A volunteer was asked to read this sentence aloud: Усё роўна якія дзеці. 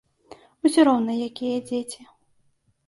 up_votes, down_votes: 2, 0